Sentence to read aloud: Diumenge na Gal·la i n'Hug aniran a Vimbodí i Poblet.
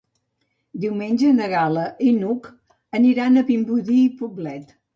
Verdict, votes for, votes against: accepted, 2, 0